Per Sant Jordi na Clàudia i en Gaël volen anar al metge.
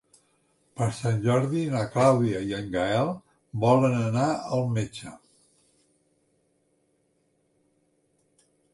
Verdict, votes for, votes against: accepted, 4, 1